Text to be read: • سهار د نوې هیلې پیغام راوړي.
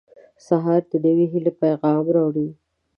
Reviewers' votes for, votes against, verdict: 2, 0, accepted